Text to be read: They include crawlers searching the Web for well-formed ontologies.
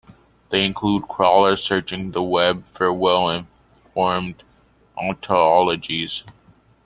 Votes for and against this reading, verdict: 1, 2, rejected